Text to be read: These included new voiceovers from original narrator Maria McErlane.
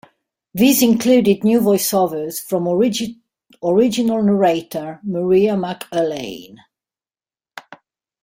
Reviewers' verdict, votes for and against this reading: rejected, 0, 2